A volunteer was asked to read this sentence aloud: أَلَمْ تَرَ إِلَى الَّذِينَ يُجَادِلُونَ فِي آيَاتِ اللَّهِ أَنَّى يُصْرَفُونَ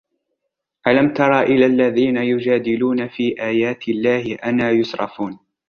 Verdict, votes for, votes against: rejected, 1, 2